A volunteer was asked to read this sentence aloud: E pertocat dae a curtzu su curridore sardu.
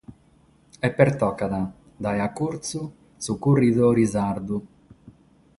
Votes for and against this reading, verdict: 6, 0, accepted